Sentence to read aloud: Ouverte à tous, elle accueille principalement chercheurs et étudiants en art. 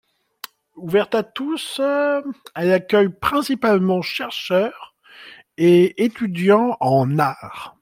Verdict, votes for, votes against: accepted, 2, 1